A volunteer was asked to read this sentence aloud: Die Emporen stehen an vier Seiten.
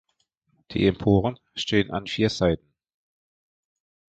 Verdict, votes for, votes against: accepted, 2, 1